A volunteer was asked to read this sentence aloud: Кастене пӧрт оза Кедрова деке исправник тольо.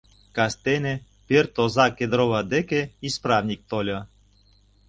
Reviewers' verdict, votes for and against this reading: accepted, 2, 0